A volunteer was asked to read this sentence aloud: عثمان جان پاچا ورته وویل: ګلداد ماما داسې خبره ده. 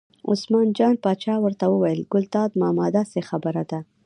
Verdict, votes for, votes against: rejected, 0, 2